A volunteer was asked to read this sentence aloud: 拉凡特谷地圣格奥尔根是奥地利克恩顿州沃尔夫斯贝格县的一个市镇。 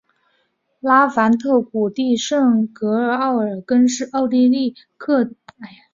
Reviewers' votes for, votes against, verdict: 0, 2, rejected